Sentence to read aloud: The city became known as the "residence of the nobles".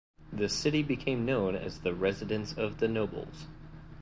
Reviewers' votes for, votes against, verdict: 3, 0, accepted